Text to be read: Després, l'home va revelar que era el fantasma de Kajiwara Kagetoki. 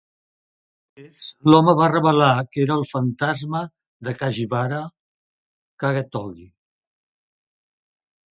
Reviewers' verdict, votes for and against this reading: rejected, 0, 3